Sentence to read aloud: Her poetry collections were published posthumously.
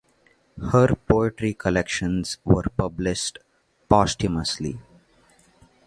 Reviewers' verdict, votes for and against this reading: accepted, 2, 0